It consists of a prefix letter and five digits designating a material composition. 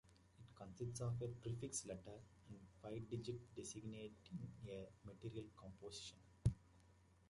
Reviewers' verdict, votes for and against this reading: rejected, 0, 2